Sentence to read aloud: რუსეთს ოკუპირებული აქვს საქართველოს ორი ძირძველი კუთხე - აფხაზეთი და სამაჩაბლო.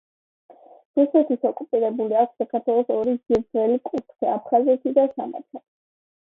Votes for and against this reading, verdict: 1, 2, rejected